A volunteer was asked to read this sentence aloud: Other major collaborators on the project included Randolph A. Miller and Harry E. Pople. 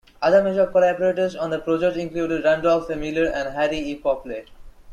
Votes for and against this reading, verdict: 1, 2, rejected